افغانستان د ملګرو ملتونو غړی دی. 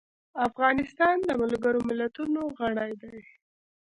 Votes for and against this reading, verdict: 2, 0, accepted